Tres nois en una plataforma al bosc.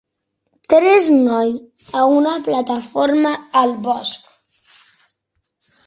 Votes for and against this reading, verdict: 0, 4, rejected